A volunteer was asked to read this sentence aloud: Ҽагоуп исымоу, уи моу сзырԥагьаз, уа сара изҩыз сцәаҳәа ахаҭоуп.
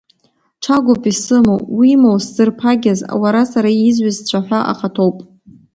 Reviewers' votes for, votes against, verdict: 1, 2, rejected